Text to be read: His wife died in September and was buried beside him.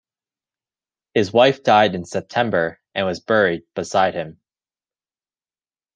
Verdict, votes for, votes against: accepted, 2, 0